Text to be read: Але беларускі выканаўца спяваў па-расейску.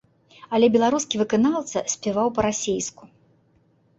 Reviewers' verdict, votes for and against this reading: accepted, 2, 0